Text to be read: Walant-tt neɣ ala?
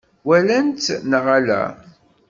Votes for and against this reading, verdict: 1, 2, rejected